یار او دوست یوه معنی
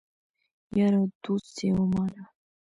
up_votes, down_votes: 1, 2